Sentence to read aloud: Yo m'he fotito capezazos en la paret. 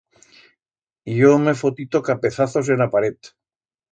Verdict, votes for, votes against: accepted, 2, 0